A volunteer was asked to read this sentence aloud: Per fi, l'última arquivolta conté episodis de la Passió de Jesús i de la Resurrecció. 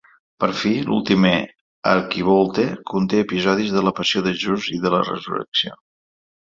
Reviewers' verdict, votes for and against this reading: accepted, 2, 0